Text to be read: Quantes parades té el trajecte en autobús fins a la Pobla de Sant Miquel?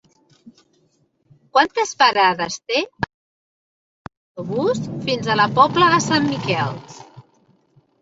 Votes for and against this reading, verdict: 0, 2, rejected